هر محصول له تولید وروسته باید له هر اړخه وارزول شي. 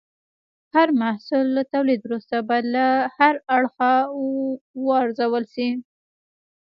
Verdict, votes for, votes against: rejected, 1, 2